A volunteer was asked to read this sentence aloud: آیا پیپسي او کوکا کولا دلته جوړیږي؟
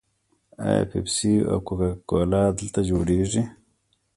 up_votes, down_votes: 2, 0